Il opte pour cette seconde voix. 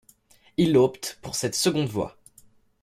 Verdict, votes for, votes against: accepted, 2, 0